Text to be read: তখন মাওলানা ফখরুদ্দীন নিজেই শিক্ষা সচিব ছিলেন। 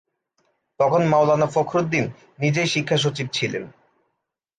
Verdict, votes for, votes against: accepted, 2, 0